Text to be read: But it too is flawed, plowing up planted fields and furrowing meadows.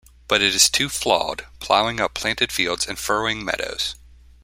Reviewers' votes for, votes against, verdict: 1, 2, rejected